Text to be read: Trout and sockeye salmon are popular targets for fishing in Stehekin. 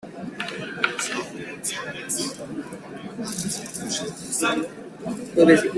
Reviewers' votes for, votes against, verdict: 0, 2, rejected